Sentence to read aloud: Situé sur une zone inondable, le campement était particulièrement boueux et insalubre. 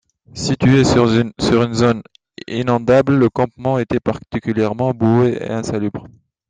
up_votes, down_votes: 0, 2